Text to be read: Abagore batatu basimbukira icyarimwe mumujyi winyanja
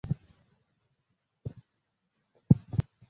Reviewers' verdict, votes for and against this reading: rejected, 0, 2